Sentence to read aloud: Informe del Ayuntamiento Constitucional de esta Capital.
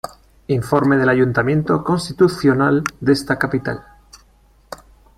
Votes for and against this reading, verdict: 2, 1, accepted